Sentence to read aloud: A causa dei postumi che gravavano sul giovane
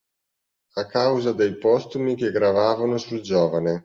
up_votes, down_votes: 2, 0